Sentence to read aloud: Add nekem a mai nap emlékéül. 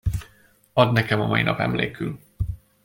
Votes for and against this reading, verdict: 0, 2, rejected